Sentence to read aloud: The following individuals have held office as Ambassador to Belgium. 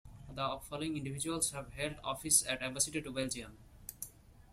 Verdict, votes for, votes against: accepted, 2, 0